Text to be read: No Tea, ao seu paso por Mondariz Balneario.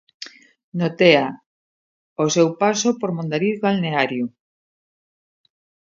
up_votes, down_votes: 2, 0